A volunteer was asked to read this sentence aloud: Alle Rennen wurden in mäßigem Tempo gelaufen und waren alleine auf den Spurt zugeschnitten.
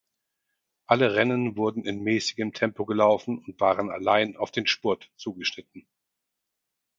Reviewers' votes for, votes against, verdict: 2, 4, rejected